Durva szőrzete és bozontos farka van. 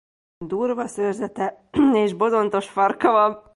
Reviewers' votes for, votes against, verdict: 2, 0, accepted